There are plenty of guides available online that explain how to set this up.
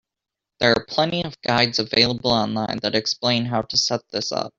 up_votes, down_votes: 2, 0